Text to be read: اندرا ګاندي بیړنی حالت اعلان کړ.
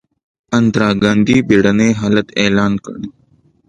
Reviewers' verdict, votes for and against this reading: accepted, 2, 0